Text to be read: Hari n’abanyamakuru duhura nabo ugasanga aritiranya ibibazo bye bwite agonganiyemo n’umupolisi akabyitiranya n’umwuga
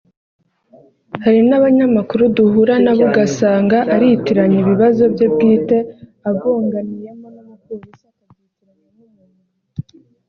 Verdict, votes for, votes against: rejected, 0, 2